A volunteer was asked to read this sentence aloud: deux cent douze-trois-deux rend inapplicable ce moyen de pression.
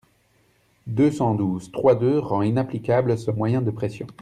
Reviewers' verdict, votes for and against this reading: accepted, 2, 0